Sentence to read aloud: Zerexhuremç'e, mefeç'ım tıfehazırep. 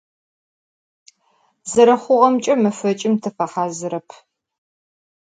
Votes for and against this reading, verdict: 2, 4, rejected